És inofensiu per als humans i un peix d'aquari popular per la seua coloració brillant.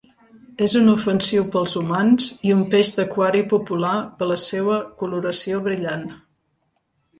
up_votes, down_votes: 0, 2